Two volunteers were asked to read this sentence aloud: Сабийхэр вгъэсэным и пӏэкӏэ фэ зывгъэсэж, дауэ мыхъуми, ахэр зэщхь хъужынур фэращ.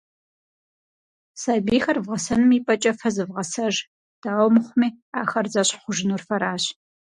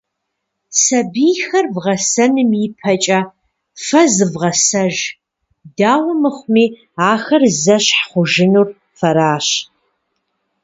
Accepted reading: first